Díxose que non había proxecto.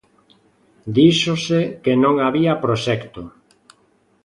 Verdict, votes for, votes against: accepted, 2, 0